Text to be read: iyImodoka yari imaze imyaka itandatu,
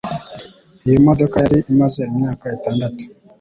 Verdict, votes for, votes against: accepted, 2, 1